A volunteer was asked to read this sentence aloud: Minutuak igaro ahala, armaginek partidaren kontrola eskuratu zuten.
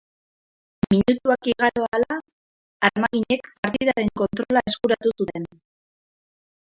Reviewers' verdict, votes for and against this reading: rejected, 0, 2